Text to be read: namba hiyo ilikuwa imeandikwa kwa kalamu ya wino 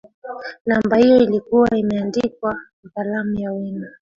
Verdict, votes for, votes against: accepted, 2, 1